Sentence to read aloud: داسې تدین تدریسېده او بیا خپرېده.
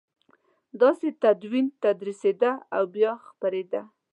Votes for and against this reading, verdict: 2, 0, accepted